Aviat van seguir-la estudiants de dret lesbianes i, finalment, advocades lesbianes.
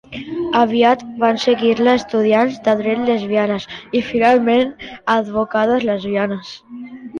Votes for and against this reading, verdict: 2, 0, accepted